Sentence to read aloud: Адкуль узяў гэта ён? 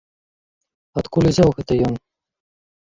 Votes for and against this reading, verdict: 2, 1, accepted